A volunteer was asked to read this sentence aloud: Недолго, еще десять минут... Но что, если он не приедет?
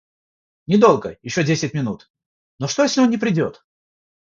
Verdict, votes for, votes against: rejected, 0, 3